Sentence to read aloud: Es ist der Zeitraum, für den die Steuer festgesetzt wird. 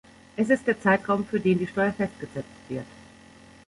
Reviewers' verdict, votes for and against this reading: rejected, 0, 2